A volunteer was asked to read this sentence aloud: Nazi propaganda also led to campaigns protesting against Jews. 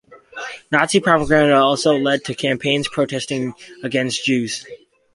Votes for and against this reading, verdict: 2, 0, accepted